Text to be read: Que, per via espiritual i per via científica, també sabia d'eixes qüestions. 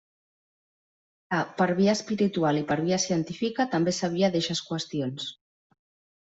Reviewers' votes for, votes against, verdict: 0, 2, rejected